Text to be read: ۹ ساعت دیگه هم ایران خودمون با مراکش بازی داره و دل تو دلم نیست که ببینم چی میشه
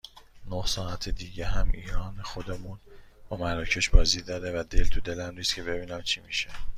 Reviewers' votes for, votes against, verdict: 0, 2, rejected